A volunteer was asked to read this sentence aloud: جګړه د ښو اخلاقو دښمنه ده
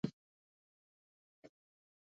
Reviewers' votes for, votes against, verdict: 1, 2, rejected